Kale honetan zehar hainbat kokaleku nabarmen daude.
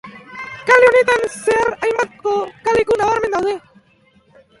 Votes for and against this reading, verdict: 0, 2, rejected